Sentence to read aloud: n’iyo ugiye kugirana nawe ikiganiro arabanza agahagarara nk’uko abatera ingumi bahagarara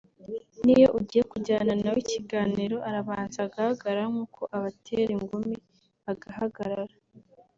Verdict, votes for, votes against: rejected, 1, 3